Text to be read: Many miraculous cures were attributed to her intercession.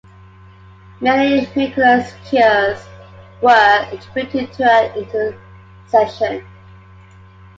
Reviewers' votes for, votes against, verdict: 1, 3, rejected